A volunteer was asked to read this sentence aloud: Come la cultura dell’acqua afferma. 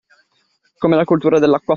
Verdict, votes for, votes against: rejected, 0, 2